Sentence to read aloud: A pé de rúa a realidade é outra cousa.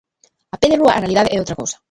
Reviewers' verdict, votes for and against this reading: rejected, 1, 2